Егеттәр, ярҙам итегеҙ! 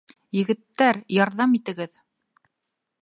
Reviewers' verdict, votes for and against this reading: accepted, 2, 0